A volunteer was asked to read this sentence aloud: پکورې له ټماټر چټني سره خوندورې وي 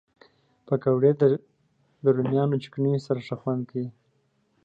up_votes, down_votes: 0, 2